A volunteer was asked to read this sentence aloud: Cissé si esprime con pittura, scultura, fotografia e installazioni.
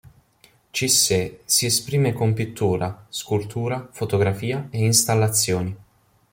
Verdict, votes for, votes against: accepted, 2, 0